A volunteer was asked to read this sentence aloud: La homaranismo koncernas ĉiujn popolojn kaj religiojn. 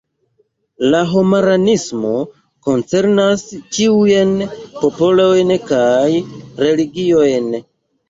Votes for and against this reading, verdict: 2, 0, accepted